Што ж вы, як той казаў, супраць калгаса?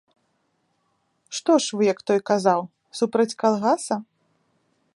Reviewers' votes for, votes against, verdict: 3, 0, accepted